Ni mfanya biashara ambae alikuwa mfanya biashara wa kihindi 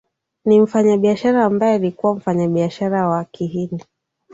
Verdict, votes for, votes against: accepted, 2, 0